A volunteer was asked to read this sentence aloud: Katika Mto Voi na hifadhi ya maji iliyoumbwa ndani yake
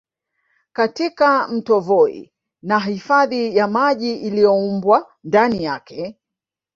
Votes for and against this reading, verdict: 0, 2, rejected